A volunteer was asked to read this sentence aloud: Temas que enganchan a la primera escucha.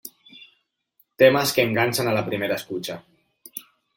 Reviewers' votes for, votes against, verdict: 2, 0, accepted